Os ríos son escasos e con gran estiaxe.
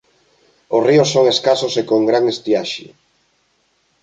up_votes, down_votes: 3, 0